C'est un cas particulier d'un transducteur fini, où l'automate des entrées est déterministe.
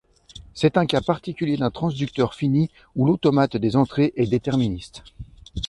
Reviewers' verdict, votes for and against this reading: accepted, 2, 0